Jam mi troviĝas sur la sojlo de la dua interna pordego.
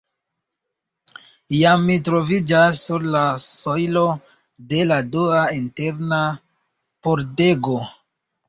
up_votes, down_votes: 2, 1